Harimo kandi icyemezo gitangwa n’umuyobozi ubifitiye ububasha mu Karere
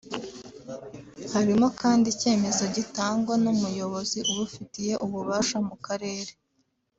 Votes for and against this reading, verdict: 0, 2, rejected